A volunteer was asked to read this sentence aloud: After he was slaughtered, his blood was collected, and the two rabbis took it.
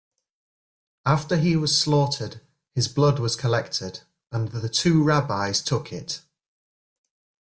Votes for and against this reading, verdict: 2, 0, accepted